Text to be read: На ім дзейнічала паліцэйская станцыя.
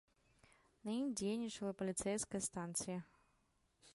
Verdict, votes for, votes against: accepted, 2, 0